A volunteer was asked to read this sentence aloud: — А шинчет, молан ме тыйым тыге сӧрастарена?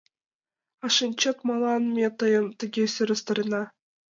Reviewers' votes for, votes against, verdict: 1, 2, rejected